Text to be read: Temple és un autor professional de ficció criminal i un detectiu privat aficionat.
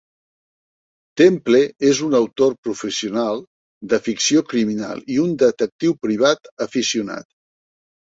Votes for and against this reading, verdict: 3, 0, accepted